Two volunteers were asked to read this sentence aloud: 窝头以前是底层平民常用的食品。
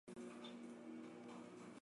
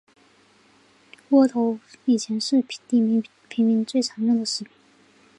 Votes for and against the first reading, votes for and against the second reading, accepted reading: 1, 4, 3, 0, second